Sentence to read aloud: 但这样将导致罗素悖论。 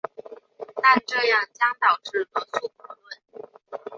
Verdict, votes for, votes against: accepted, 2, 0